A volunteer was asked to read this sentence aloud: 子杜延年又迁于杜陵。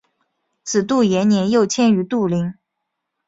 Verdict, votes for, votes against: accepted, 2, 0